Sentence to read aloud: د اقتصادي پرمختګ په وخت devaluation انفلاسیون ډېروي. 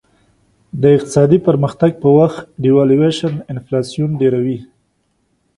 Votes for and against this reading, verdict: 2, 0, accepted